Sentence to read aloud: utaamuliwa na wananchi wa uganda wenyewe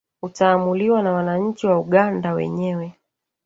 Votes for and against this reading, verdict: 1, 2, rejected